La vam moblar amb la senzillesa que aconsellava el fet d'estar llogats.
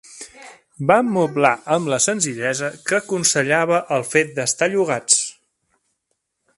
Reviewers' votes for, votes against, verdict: 0, 2, rejected